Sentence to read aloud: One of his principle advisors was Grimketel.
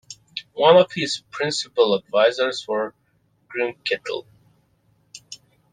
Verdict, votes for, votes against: rejected, 0, 2